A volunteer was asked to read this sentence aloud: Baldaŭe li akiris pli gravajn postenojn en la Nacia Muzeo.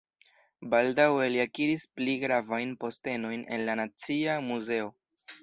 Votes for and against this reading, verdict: 2, 0, accepted